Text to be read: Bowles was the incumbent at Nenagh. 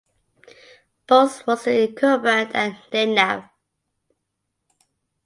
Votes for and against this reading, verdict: 2, 0, accepted